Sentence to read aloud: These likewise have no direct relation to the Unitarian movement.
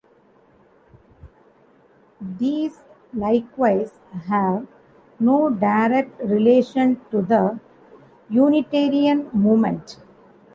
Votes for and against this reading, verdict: 2, 1, accepted